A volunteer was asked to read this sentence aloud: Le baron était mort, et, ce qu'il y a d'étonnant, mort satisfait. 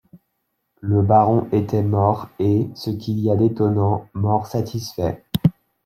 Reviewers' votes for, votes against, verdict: 2, 0, accepted